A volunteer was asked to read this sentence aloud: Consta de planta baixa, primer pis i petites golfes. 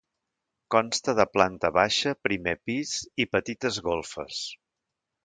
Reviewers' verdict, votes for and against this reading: accepted, 2, 0